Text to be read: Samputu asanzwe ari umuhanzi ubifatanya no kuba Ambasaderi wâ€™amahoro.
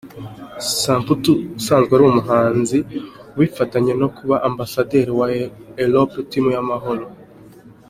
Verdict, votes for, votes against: rejected, 0, 2